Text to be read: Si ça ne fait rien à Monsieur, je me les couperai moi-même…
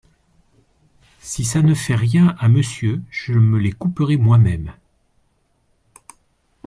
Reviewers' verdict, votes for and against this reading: accepted, 2, 0